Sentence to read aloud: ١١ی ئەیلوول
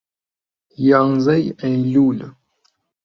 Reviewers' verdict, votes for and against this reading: rejected, 0, 2